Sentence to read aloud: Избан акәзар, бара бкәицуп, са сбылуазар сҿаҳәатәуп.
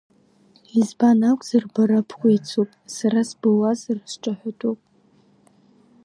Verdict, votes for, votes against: accepted, 3, 2